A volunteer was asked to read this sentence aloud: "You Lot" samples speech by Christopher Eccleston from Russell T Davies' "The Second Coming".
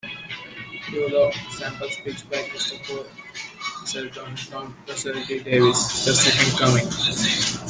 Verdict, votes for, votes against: accepted, 2, 1